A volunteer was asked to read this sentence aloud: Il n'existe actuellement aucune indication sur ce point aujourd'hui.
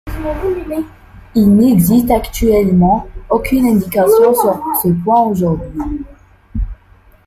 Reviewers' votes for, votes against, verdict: 0, 2, rejected